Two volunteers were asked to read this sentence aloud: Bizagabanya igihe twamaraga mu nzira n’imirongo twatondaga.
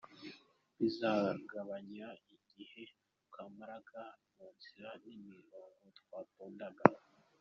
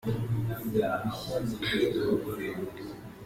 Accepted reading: first